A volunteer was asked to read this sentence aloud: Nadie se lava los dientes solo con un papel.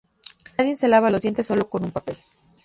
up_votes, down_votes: 0, 2